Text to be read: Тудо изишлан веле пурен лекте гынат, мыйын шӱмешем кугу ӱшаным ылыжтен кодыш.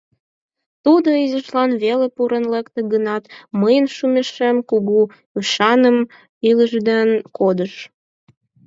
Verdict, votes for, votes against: rejected, 2, 4